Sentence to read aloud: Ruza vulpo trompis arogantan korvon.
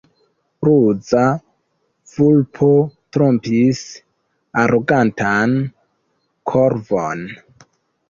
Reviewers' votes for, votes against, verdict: 2, 0, accepted